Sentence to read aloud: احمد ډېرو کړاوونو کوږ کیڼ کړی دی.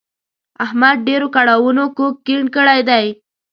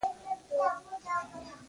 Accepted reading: first